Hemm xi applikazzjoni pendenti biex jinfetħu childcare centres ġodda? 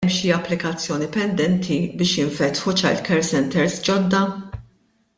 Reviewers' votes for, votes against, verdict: 1, 2, rejected